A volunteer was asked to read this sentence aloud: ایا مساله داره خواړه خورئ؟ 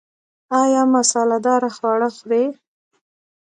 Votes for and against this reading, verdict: 1, 2, rejected